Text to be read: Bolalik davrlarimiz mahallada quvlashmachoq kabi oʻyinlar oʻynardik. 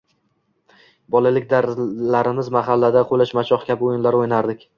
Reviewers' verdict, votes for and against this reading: rejected, 1, 2